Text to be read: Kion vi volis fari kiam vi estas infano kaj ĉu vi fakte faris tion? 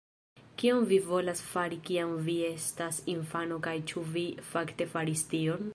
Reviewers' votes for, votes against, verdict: 1, 3, rejected